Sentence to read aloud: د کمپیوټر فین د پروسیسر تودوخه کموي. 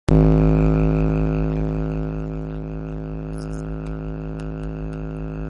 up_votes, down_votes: 0, 3